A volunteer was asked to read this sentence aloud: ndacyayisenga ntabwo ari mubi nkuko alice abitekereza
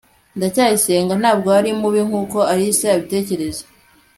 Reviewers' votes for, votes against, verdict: 2, 0, accepted